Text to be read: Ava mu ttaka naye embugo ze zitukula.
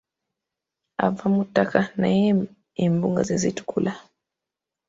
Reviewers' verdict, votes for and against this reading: accepted, 2, 0